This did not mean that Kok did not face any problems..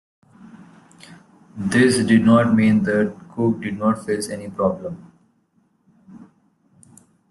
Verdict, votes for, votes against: accepted, 2, 1